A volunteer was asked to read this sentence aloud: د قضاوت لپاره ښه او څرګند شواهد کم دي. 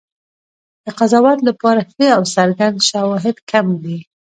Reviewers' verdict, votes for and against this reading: rejected, 0, 2